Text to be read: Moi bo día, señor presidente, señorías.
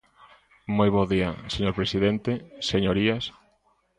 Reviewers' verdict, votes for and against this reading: accepted, 2, 0